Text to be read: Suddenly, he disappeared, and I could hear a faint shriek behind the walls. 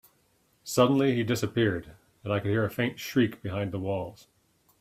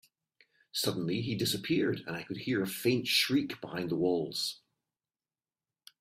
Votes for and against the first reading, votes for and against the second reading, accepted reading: 1, 2, 3, 0, second